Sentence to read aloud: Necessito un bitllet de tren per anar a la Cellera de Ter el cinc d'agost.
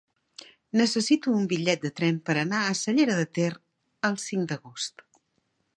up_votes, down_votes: 0, 3